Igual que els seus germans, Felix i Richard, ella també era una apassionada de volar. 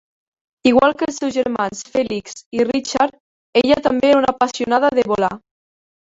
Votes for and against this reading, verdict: 1, 2, rejected